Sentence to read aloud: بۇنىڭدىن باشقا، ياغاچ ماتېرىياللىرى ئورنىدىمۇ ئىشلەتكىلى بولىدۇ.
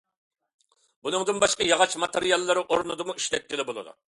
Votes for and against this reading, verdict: 2, 0, accepted